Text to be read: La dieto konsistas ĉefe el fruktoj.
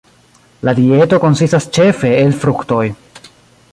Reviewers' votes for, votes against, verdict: 2, 1, accepted